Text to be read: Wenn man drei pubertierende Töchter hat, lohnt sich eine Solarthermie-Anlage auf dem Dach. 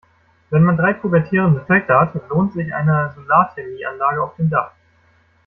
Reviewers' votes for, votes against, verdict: 2, 0, accepted